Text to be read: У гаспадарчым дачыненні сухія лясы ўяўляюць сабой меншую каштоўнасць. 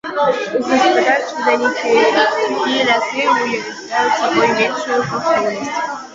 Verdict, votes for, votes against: rejected, 0, 2